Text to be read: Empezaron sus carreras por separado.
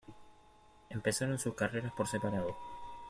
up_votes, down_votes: 2, 0